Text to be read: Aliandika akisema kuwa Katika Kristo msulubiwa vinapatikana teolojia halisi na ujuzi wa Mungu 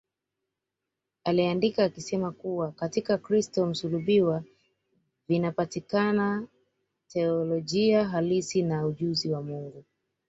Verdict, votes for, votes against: accepted, 2, 0